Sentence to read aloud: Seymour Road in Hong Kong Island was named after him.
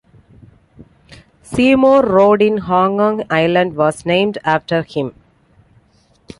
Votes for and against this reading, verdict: 2, 0, accepted